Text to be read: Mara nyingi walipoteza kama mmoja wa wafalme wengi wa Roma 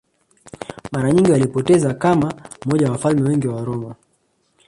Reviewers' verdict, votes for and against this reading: rejected, 0, 2